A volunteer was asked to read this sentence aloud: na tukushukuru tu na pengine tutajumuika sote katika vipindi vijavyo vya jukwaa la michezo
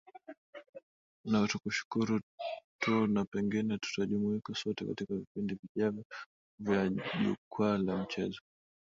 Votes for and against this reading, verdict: 2, 1, accepted